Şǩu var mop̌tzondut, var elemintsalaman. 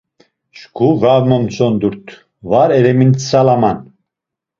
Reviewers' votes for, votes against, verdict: 1, 2, rejected